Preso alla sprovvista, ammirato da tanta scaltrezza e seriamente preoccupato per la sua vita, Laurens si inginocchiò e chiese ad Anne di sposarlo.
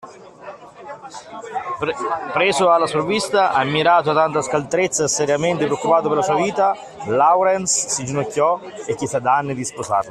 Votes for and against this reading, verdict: 2, 1, accepted